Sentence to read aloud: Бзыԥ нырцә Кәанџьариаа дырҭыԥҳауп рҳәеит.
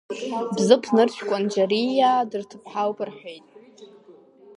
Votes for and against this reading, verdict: 2, 1, accepted